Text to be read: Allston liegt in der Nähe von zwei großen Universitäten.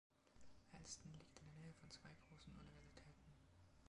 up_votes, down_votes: 0, 2